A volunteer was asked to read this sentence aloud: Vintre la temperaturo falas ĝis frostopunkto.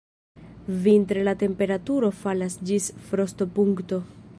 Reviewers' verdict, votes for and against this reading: rejected, 1, 2